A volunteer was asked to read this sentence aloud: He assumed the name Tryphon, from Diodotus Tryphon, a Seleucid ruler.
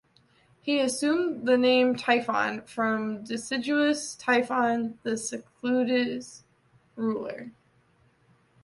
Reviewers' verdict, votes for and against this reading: rejected, 1, 2